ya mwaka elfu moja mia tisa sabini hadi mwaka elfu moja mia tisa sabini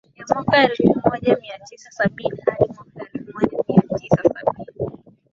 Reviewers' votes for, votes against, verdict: 1, 2, rejected